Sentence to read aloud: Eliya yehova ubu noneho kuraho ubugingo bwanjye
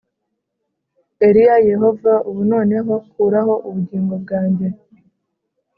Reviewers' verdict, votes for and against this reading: accepted, 2, 0